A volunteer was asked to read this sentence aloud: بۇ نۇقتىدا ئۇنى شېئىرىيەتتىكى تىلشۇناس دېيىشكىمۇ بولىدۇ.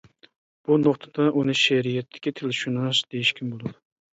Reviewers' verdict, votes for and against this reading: accepted, 2, 1